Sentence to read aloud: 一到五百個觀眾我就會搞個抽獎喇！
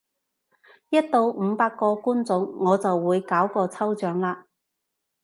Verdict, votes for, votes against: accepted, 2, 0